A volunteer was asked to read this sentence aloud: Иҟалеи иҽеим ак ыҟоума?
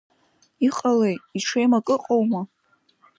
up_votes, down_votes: 2, 0